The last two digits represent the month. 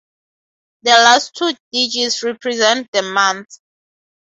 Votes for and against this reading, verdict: 2, 0, accepted